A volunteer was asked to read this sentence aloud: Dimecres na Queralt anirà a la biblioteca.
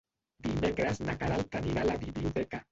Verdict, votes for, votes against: rejected, 0, 2